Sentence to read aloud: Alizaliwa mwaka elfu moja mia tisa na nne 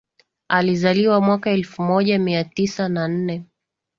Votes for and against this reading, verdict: 2, 0, accepted